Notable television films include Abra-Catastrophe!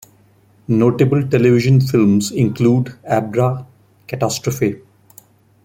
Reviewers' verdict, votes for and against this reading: accepted, 2, 0